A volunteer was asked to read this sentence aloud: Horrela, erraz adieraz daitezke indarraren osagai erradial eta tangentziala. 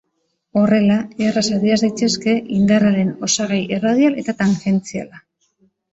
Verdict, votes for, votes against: accepted, 2, 0